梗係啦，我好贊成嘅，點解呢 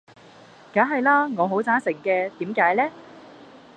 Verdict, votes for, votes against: rejected, 1, 2